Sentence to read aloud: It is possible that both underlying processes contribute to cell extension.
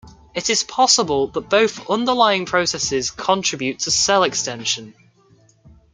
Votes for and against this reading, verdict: 1, 2, rejected